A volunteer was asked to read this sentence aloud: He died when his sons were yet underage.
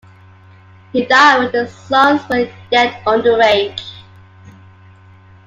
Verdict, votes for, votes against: accepted, 2, 0